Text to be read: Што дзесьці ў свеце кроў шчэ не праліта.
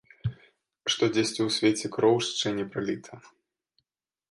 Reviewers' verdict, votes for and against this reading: accepted, 2, 0